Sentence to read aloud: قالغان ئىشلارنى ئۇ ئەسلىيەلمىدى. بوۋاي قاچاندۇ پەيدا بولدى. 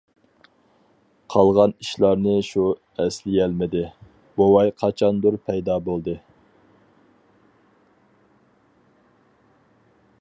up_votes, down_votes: 0, 4